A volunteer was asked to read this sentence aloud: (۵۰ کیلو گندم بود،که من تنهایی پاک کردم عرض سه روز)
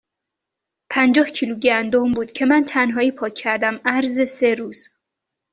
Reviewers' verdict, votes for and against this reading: rejected, 0, 2